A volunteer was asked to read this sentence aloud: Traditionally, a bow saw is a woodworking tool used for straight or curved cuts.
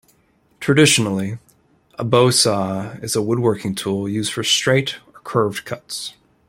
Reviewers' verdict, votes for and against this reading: accepted, 2, 1